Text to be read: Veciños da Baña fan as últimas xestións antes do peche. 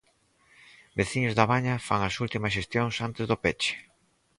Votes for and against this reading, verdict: 4, 0, accepted